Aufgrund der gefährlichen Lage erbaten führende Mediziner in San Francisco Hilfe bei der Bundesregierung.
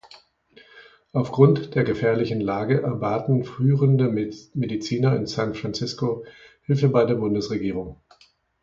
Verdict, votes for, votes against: rejected, 1, 2